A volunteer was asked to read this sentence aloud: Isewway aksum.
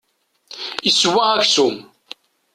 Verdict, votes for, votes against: rejected, 0, 2